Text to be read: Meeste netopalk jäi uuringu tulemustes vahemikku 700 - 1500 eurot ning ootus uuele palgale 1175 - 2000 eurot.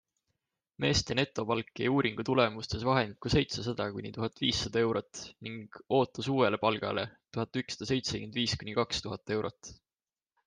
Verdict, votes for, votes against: rejected, 0, 2